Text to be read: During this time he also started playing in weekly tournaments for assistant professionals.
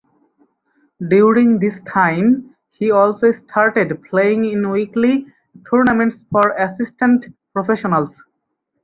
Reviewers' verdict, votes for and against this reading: accepted, 4, 0